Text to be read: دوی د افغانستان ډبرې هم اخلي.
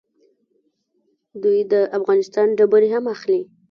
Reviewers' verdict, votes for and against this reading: rejected, 1, 2